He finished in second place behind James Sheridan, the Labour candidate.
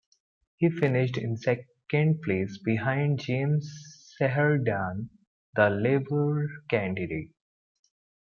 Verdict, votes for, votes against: rejected, 0, 2